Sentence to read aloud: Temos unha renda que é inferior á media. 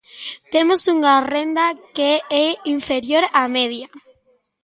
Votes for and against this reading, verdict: 2, 0, accepted